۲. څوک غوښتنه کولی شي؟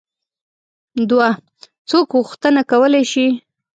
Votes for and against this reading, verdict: 0, 2, rejected